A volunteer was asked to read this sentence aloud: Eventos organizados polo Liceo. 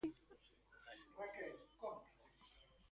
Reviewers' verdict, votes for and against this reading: rejected, 0, 3